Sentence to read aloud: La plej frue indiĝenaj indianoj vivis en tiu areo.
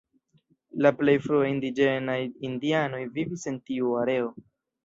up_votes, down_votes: 2, 3